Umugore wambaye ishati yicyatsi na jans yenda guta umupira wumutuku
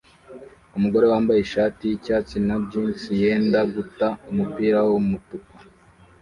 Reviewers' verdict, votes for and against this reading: rejected, 0, 2